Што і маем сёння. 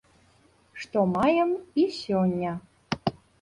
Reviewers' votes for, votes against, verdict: 0, 2, rejected